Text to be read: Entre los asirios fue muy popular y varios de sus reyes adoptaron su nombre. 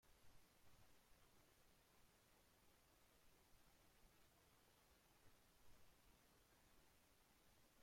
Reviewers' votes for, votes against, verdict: 0, 2, rejected